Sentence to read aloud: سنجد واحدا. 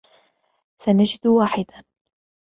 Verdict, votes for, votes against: accepted, 2, 0